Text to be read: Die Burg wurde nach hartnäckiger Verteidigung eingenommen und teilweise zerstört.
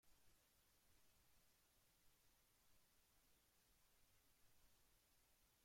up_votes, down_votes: 0, 2